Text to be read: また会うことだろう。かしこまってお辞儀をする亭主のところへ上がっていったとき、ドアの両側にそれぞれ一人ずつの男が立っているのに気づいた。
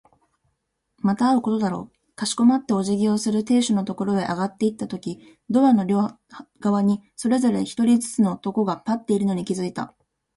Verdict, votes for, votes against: accepted, 2, 0